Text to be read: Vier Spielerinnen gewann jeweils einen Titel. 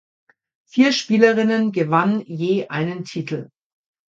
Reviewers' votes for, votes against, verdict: 0, 2, rejected